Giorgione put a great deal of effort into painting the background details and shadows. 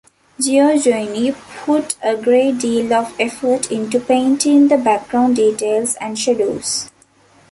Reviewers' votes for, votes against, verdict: 2, 0, accepted